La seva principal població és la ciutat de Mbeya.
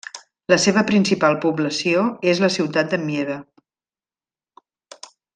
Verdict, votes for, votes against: rejected, 1, 2